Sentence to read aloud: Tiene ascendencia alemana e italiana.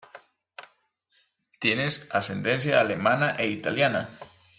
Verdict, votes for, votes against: rejected, 1, 2